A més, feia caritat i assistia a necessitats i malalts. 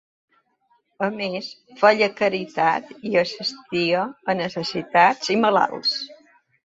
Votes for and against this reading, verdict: 2, 0, accepted